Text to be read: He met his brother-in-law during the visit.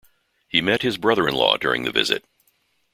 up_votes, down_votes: 2, 0